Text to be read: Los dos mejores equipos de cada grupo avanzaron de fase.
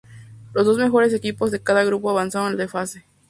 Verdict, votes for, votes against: accepted, 2, 0